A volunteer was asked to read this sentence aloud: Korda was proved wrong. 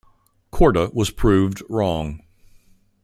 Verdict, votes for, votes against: accepted, 3, 0